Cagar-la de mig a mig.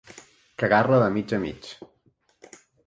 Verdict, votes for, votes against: accepted, 2, 1